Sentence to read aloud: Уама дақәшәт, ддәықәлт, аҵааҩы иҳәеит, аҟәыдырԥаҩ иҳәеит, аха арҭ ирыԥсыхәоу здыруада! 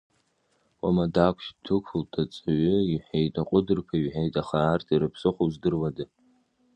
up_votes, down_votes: 2, 1